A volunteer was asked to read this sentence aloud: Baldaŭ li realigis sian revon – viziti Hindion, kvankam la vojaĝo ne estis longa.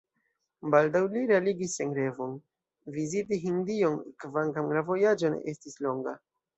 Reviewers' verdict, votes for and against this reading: accepted, 2, 0